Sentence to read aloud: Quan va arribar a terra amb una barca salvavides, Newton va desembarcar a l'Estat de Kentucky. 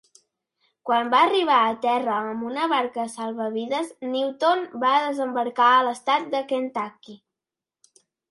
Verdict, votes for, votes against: accepted, 2, 0